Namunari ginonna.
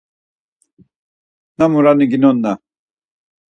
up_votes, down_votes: 4, 0